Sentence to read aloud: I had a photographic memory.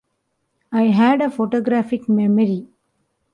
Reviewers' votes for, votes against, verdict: 2, 0, accepted